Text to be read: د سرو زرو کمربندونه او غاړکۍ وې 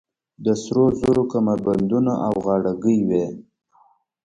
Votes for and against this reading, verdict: 1, 2, rejected